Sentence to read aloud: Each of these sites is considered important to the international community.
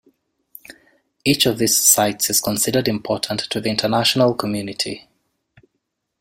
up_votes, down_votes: 2, 0